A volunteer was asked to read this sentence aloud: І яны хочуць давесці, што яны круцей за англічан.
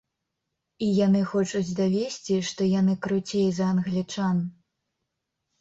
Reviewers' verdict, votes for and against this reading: accepted, 2, 0